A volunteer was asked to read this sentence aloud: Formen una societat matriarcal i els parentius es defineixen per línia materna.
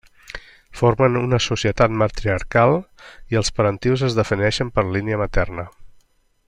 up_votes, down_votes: 3, 0